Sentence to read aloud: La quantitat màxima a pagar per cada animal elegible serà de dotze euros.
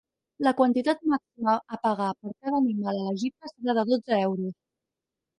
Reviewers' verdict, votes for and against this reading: rejected, 0, 4